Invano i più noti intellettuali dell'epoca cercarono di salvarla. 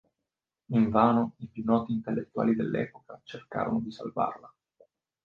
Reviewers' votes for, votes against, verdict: 2, 0, accepted